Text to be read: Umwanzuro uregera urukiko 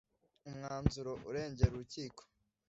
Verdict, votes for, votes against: accepted, 2, 1